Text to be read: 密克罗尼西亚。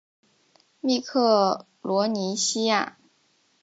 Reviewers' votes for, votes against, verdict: 3, 0, accepted